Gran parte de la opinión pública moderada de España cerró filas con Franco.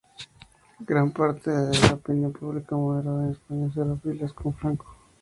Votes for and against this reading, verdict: 0, 4, rejected